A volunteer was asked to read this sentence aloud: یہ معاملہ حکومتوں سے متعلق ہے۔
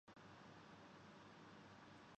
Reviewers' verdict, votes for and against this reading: rejected, 0, 2